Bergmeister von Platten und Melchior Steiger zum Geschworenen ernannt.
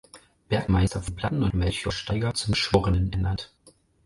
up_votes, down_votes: 0, 4